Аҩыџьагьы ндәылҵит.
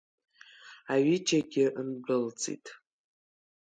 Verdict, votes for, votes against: accepted, 3, 0